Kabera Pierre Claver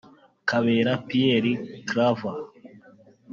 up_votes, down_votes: 1, 2